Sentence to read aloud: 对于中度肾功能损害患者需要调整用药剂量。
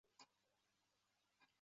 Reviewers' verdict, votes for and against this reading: rejected, 1, 2